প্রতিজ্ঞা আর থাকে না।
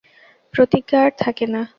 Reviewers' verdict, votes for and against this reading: accepted, 2, 0